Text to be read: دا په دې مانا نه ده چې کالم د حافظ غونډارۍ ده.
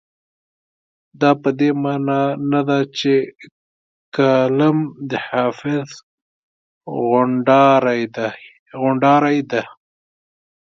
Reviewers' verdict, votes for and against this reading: rejected, 0, 2